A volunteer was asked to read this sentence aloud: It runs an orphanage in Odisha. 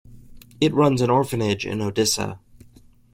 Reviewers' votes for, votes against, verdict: 1, 2, rejected